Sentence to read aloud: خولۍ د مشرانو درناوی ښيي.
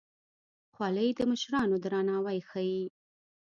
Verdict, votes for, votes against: rejected, 1, 2